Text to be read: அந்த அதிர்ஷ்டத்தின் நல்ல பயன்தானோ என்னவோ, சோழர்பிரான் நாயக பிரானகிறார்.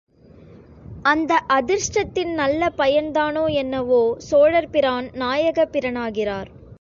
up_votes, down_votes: 1, 2